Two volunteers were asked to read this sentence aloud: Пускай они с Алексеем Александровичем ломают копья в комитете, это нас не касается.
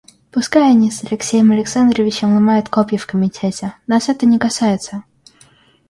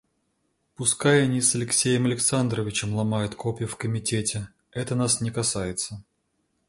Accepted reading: second